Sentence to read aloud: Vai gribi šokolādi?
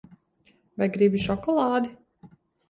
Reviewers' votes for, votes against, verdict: 2, 0, accepted